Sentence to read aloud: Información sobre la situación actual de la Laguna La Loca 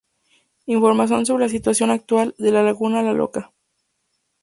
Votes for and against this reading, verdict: 2, 2, rejected